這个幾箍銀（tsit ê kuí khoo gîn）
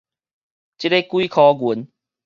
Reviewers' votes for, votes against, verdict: 2, 0, accepted